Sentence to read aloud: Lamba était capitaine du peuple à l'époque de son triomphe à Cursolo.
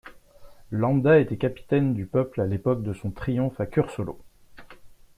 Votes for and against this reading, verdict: 2, 0, accepted